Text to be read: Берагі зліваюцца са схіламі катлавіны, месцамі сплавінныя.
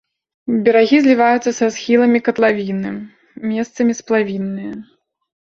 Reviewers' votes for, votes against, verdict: 2, 0, accepted